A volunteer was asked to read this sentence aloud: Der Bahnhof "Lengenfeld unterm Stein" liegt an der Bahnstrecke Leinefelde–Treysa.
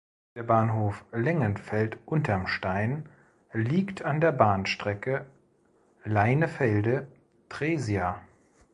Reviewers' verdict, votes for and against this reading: rejected, 0, 2